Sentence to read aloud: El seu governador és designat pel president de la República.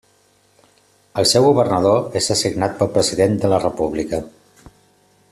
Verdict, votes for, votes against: accepted, 2, 0